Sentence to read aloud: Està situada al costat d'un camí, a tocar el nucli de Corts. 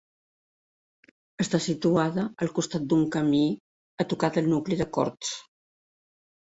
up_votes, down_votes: 0, 2